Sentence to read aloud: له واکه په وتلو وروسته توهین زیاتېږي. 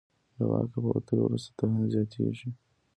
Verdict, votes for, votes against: accepted, 2, 1